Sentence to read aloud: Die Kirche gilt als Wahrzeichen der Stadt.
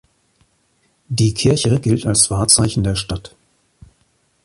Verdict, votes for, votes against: accepted, 2, 0